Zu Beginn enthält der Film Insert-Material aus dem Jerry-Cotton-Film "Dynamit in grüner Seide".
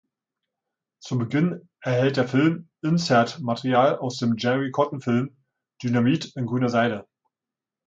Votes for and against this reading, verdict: 0, 2, rejected